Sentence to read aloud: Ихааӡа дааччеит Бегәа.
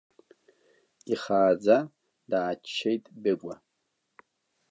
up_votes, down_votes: 1, 2